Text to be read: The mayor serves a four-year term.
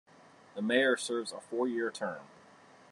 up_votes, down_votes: 0, 3